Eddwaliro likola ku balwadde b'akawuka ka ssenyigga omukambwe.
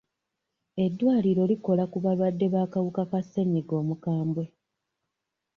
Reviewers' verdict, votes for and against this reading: accepted, 2, 0